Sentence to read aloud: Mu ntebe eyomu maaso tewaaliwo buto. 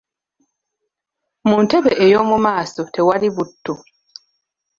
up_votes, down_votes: 0, 2